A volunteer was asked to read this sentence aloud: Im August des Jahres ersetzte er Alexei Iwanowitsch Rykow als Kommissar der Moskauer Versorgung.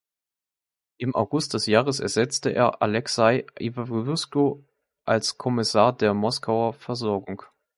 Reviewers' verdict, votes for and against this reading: rejected, 0, 2